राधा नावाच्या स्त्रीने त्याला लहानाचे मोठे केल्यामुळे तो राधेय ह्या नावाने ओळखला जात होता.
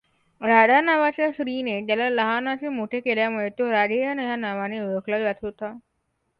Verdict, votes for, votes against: accepted, 2, 0